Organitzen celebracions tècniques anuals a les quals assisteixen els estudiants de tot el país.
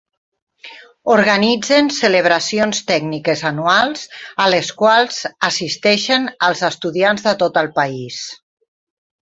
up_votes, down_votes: 6, 0